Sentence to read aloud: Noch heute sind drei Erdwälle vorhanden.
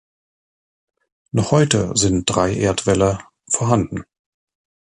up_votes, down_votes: 4, 0